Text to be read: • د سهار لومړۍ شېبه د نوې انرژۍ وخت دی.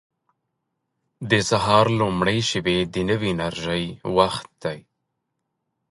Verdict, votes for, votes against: rejected, 1, 2